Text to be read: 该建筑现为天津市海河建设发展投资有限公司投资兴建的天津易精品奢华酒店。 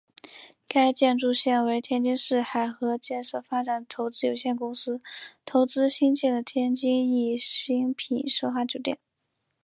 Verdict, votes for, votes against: accepted, 4, 1